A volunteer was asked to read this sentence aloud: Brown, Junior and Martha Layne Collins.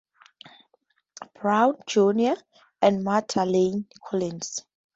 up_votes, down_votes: 2, 0